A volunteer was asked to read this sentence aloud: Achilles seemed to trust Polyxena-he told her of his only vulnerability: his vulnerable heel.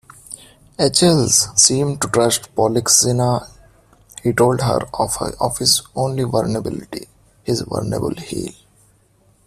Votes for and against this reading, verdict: 0, 2, rejected